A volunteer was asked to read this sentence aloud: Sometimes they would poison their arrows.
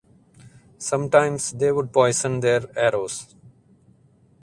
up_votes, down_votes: 2, 0